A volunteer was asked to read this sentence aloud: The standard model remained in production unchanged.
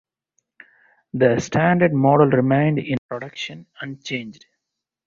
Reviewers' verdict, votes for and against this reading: accepted, 2, 0